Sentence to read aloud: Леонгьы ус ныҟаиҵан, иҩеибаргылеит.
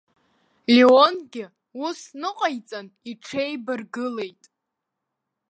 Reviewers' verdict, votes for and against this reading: rejected, 0, 2